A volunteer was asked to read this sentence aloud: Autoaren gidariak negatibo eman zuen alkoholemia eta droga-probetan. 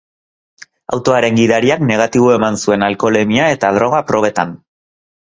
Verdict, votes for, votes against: accepted, 4, 0